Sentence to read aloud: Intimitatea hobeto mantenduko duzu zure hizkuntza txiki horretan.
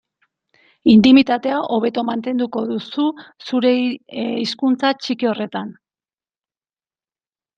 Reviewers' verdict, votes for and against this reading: rejected, 1, 2